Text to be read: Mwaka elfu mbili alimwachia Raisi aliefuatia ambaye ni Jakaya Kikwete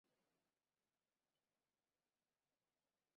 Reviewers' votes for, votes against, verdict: 1, 2, rejected